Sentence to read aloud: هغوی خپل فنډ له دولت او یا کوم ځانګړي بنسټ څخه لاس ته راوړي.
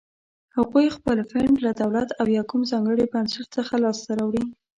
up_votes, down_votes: 2, 0